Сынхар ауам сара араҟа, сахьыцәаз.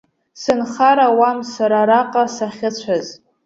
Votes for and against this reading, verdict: 0, 2, rejected